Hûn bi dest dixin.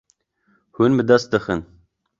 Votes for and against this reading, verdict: 2, 0, accepted